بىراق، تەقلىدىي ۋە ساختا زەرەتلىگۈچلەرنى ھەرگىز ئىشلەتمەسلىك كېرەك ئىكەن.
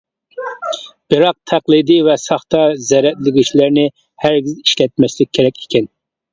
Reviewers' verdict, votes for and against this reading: accepted, 2, 1